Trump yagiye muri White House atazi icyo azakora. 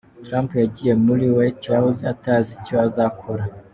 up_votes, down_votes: 2, 1